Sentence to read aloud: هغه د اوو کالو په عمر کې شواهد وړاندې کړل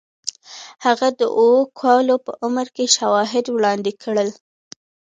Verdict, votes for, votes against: accepted, 2, 1